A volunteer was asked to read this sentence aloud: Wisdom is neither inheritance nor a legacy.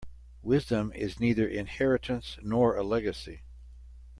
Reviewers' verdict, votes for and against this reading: accepted, 2, 0